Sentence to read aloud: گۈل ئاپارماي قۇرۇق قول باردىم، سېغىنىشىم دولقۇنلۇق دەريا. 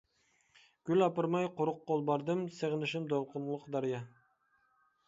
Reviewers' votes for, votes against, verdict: 2, 0, accepted